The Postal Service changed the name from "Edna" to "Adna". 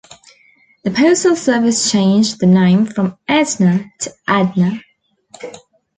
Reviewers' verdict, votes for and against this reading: accepted, 2, 0